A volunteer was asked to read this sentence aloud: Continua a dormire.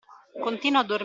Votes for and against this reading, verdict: 0, 2, rejected